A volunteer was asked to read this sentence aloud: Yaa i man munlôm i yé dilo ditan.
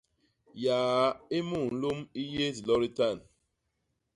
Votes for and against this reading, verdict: 1, 2, rejected